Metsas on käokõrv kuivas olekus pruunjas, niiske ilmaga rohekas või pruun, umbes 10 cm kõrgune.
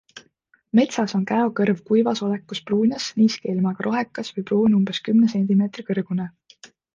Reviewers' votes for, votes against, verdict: 0, 2, rejected